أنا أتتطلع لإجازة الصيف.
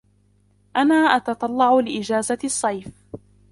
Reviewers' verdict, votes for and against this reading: rejected, 0, 2